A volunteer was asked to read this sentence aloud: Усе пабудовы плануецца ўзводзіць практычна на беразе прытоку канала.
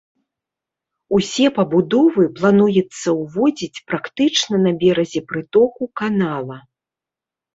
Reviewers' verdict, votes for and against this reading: rejected, 1, 2